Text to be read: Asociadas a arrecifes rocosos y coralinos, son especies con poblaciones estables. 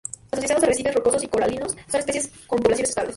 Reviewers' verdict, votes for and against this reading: accepted, 2, 0